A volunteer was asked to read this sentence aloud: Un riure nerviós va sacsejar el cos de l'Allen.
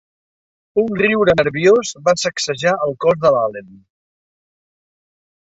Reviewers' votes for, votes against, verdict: 1, 2, rejected